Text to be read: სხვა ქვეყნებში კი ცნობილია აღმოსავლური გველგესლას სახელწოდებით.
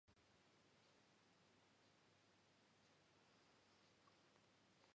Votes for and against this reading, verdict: 0, 2, rejected